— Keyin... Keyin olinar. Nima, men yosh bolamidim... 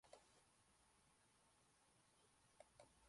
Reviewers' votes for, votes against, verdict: 0, 2, rejected